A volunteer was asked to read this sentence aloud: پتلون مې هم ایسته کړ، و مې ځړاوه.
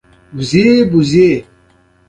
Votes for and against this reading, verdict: 2, 0, accepted